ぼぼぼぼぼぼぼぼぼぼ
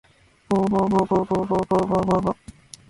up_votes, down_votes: 1, 2